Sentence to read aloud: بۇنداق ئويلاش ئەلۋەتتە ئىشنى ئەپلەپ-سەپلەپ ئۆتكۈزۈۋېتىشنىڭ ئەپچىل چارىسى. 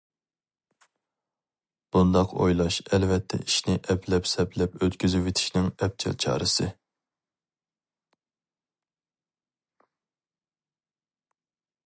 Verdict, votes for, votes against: rejected, 0, 2